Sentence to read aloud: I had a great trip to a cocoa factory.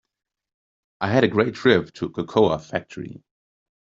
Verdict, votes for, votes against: rejected, 1, 2